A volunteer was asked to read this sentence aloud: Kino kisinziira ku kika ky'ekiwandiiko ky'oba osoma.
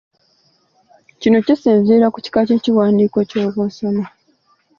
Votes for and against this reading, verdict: 4, 0, accepted